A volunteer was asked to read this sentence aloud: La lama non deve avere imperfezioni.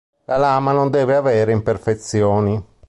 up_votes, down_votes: 2, 0